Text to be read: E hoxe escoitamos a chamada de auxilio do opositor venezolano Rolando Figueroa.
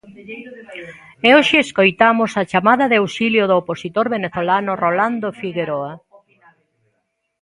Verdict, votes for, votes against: rejected, 1, 2